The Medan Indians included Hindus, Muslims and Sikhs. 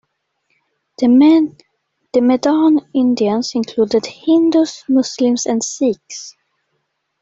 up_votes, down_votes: 0, 2